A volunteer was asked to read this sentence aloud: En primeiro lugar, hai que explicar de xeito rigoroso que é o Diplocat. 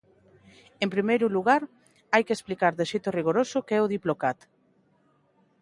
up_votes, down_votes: 2, 0